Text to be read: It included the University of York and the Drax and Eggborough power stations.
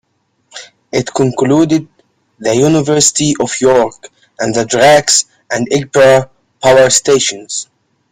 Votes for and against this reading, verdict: 0, 2, rejected